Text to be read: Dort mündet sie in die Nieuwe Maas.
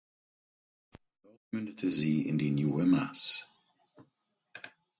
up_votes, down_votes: 2, 4